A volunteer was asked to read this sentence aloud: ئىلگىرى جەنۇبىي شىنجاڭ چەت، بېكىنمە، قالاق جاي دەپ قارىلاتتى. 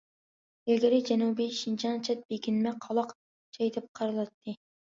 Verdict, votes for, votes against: accepted, 2, 0